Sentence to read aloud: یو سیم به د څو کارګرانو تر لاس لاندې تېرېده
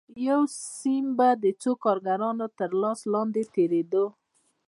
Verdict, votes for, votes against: rejected, 0, 2